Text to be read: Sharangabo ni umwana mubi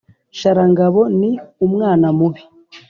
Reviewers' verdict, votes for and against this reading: accepted, 2, 0